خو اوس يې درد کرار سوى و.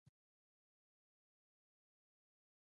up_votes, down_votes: 1, 2